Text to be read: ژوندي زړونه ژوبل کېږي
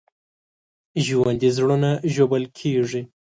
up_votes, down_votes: 2, 0